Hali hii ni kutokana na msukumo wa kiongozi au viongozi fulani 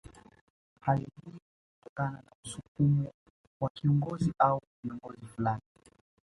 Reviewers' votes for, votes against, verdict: 0, 2, rejected